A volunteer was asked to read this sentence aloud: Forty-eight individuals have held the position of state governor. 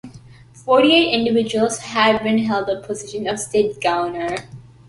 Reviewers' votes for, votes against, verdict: 0, 2, rejected